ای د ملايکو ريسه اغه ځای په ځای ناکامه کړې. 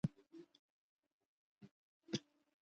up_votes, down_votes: 0, 2